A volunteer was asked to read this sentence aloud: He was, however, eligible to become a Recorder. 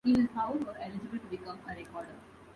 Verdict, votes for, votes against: rejected, 0, 2